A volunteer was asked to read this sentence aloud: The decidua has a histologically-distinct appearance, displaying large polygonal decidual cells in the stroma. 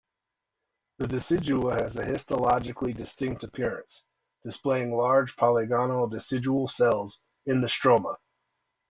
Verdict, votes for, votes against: accepted, 2, 0